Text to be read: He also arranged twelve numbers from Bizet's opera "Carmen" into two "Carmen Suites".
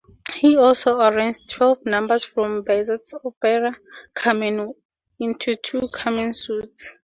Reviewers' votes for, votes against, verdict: 0, 2, rejected